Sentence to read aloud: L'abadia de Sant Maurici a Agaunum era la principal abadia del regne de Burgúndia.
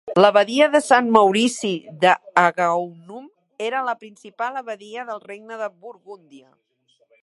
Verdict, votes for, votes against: rejected, 2, 3